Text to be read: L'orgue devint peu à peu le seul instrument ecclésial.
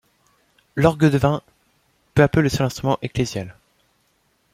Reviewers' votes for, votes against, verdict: 2, 0, accepted